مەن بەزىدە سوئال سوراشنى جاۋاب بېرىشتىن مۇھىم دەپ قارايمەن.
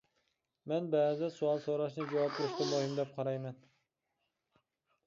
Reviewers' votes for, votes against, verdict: 2, 0, accepted